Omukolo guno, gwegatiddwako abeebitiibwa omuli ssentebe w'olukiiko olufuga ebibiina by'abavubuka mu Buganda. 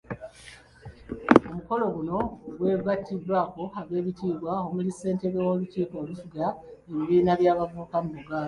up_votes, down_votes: 0, 2